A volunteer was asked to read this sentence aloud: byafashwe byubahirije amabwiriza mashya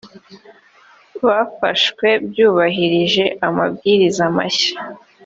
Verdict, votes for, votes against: accepted, 2, 0